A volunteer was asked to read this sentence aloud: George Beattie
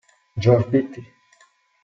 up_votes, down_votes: 2, 1